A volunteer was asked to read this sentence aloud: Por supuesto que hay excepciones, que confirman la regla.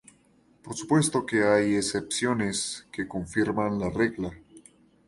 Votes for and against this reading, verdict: 2, 0, accepted